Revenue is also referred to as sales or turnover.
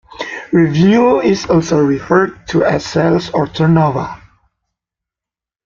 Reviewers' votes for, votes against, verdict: 0, 2, rejected